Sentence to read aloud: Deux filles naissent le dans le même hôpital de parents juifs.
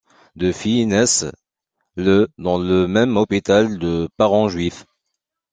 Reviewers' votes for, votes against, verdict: 2, 0, accepted